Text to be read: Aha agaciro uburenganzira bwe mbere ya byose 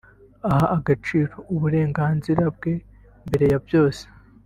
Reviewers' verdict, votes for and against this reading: rejected, 0, 2